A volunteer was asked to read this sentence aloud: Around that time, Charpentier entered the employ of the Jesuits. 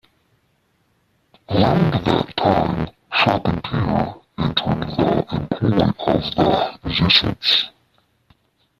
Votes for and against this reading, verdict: 0, 2, rejected